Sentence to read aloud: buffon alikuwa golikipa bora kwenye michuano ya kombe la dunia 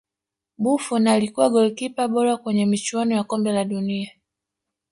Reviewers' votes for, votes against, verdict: 1, 2, rejected